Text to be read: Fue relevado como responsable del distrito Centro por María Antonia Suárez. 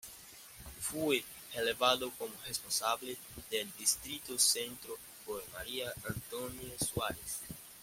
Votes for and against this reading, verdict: 0, 2, rejected